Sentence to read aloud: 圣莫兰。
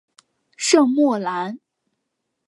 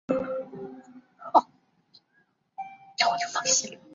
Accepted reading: first